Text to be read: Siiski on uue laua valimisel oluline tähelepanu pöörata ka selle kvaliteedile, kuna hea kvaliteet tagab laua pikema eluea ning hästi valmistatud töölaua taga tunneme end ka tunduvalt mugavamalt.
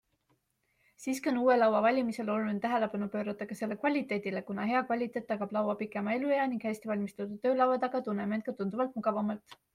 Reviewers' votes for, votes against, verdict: 2, 0, accepted